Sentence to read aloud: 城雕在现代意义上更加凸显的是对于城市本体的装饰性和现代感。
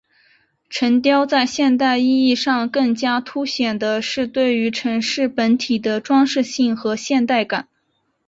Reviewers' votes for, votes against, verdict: 2, 0, accepted